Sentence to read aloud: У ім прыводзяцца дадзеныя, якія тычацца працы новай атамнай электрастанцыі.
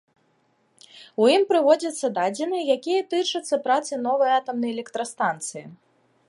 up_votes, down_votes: 2, 0